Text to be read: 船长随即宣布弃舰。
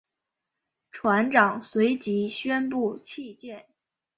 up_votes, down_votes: 2, 0